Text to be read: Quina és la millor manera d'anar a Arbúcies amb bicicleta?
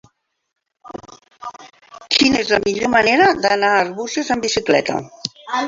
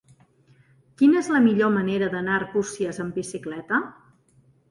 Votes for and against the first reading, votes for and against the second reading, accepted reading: 1, 2, 2, 0, second